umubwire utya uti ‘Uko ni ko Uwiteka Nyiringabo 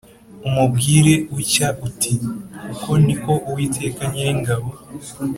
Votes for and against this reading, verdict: 2, 0, accepted